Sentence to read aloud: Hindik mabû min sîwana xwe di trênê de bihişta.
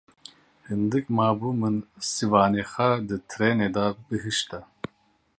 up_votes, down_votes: 0, 2